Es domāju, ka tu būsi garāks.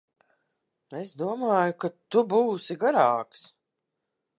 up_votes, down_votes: 2, 0